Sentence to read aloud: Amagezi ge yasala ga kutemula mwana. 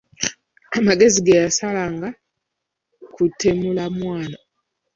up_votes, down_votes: 0, 2